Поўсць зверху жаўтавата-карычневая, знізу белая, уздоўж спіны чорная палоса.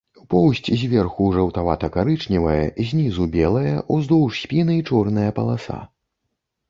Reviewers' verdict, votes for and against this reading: rejected, 0, 2